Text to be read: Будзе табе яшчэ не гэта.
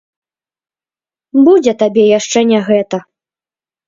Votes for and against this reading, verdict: 1, 2, rejected